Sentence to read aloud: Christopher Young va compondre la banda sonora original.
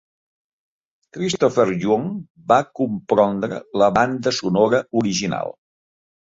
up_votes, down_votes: 1, 2